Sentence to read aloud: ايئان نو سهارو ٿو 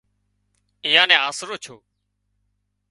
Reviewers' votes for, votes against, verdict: 2, 1, accepted